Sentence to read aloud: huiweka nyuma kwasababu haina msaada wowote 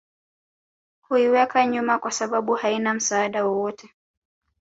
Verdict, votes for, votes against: accepted, 2, 1